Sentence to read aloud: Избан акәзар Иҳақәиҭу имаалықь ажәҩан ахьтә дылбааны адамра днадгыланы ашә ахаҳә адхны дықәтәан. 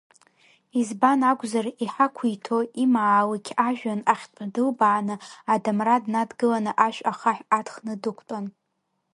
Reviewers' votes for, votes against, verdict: 0, 2, rejected